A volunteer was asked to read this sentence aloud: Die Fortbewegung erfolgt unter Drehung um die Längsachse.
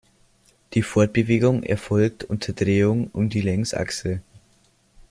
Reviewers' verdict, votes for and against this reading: accepted, 2, 1